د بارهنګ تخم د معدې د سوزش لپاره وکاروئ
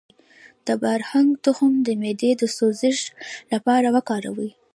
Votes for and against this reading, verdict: 0, 2, rejected